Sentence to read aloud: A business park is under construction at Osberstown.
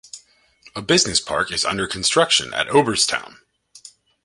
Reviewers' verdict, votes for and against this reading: rejected, 1, 2